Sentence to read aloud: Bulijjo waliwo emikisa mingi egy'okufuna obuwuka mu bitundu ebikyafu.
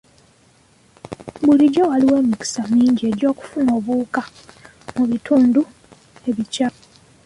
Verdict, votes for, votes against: rejected, 0, 2